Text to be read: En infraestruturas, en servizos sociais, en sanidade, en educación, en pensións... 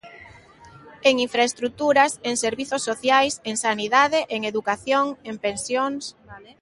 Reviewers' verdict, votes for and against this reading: accepted, 2, 0